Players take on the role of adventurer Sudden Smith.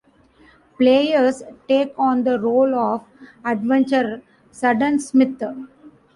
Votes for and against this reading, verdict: 1, 2, rejected